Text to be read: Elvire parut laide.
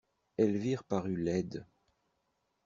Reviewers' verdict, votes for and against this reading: accepted, 2, 0